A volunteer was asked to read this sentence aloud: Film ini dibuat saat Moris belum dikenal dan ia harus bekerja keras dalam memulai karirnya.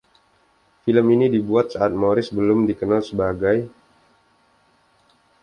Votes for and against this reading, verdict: 0, 2, rejected